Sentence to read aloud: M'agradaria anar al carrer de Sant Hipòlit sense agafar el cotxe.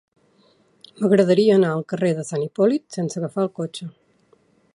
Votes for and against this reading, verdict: 3, 0, accepted